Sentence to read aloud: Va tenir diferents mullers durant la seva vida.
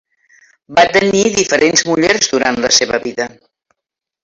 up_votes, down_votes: 5, 3